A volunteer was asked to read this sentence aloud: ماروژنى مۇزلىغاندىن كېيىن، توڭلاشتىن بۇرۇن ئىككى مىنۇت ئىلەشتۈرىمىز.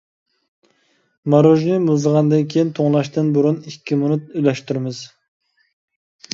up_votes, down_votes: 2, 1